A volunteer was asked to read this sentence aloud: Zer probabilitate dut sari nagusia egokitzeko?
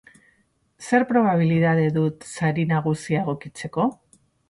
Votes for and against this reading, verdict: 2, 2, rejected